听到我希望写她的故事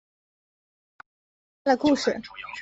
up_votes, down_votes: 0, 2